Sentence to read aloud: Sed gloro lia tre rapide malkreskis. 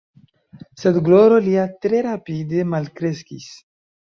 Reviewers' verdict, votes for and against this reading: accepted, 2, 0